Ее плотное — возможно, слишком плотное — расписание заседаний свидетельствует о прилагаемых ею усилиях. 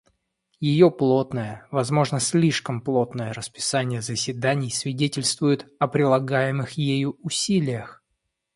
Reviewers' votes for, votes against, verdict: 2, 0, accepted